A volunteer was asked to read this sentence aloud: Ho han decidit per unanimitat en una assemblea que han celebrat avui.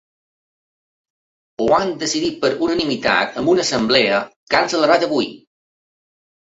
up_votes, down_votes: 2, 0